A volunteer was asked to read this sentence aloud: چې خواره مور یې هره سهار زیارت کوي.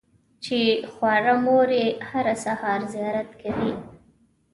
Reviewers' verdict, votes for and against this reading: accepted, 2, 0